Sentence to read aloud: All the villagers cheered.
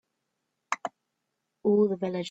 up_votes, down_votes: 0, 2